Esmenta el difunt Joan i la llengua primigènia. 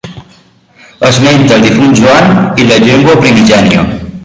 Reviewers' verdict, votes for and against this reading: rejected, 0, 2